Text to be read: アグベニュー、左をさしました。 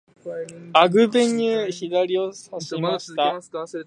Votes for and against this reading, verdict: 0, 2, rejected